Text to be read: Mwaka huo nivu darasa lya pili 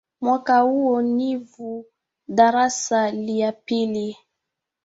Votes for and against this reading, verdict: 2, 1, accepted